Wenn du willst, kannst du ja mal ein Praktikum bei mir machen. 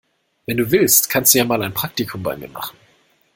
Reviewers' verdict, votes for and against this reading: accepted, 2, 0